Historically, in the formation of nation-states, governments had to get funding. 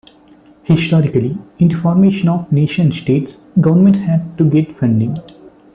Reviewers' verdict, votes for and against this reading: accepted, 2, 1